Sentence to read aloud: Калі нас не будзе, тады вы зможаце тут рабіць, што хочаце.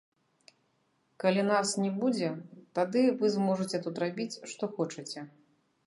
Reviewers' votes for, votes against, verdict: 1, 2, rejected